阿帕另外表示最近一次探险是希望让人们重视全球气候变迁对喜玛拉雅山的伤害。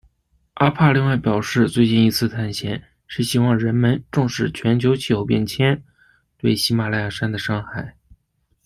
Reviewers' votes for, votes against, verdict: 0, 2, rejected